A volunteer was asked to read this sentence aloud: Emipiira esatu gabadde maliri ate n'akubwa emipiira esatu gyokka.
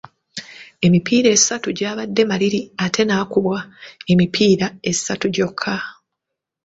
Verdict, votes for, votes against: rejected, 0, 2